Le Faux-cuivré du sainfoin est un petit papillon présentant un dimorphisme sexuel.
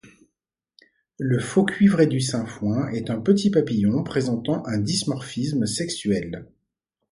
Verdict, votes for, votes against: accepted, 2, 1